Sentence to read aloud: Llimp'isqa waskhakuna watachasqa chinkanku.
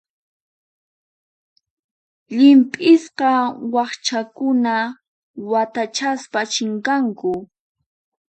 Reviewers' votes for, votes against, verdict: 0, 4, rejected